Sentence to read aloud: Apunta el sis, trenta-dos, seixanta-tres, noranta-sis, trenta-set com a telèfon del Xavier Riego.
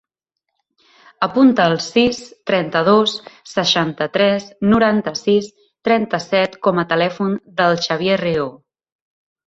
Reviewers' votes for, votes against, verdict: 1, 2, rejected